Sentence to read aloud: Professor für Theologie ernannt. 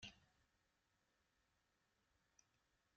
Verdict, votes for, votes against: rejected, 0, 2